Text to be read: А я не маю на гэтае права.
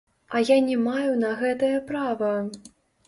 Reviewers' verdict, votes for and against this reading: rejected, 1, 2